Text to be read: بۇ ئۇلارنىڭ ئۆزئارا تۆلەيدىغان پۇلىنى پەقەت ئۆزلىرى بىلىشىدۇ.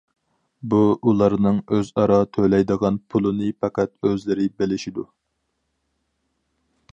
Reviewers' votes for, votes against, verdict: 4, 0, accepted